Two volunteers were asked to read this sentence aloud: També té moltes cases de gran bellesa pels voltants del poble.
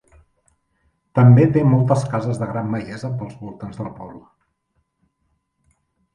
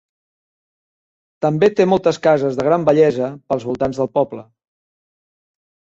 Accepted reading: first